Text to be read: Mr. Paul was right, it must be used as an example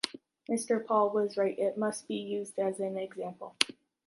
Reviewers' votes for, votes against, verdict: 0, 2, rejected